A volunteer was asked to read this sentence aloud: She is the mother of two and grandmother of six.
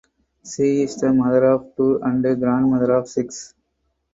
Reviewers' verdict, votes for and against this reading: accepted, 2, 0